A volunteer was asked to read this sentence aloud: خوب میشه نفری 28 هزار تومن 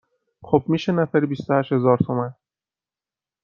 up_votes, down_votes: 0, 2